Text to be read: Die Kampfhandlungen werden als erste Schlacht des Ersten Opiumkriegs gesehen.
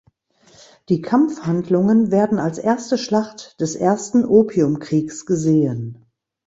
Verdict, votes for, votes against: accepted, 2, 0